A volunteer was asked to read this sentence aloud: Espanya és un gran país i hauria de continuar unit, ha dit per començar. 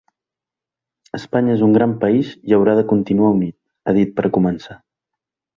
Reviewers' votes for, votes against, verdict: 1, 5, rejected